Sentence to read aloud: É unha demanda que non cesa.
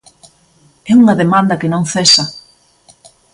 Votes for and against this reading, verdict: 1, 2, rejected